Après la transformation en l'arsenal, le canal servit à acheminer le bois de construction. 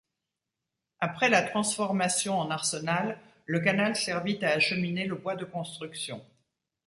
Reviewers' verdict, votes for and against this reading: rejected, 0, 2